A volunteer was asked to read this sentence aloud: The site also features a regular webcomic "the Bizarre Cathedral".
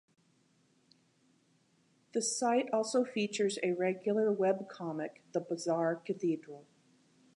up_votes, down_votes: 2, 0